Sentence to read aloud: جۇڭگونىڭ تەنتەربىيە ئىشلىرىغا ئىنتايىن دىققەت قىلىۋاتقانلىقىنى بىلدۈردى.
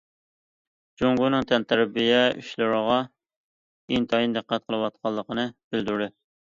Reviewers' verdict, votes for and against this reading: accepted, 2, 0